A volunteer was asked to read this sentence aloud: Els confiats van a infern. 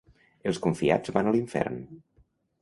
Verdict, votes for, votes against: rejected, 0, 2